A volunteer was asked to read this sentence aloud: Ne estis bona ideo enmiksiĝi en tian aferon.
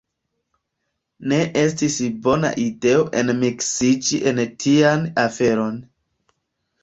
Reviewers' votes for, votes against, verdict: 2, 0, accepted